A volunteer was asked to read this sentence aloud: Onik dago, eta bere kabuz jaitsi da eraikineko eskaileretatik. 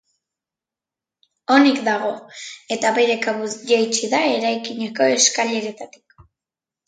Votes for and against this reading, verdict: 1, 2, rejected